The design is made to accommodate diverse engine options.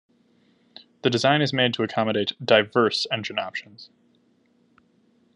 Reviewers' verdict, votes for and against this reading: accepted, 2, 0